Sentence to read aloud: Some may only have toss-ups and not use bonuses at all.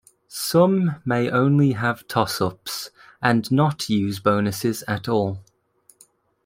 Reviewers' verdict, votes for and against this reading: accepted, 2, 0